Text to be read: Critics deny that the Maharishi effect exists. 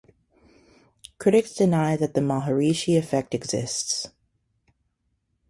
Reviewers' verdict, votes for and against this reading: rejected, 2, 2